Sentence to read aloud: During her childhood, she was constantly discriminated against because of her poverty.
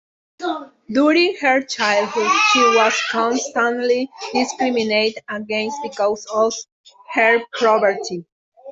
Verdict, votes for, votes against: rejected, 0, 2